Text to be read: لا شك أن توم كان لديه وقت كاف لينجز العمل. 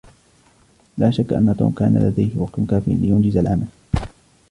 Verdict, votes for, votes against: rejected, 1, 2